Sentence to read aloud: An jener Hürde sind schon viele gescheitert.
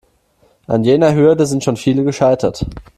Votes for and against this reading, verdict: 2, 0, accepted